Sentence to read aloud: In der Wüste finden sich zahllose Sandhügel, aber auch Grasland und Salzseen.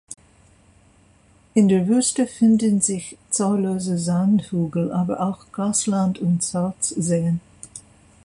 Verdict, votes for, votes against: rejected, 0, 2